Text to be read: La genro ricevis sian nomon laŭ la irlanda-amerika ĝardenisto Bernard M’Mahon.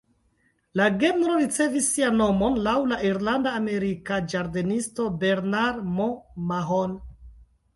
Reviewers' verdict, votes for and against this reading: accepted, 2, 0